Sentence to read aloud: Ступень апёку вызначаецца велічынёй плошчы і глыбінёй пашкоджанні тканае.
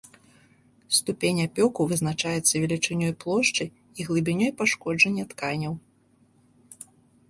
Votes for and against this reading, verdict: 0, 2, rejected